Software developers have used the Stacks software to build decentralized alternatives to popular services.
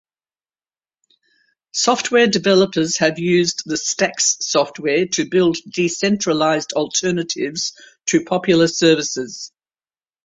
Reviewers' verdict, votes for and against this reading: accepted, 4, 0